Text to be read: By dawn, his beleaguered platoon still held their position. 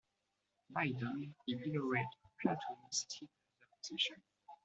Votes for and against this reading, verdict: 0, 2, rejected